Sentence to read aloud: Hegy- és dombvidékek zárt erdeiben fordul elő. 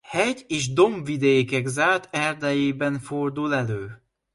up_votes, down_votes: 0, 2